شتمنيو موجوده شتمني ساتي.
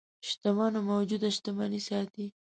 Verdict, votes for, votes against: rejected, 0, 3